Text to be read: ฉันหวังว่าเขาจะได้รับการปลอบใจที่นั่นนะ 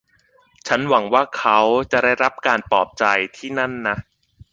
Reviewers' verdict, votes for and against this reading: accepted, 2, 0